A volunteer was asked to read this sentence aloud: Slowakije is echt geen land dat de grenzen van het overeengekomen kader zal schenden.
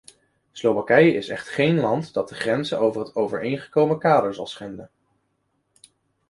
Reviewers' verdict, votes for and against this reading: accepted, 2, 1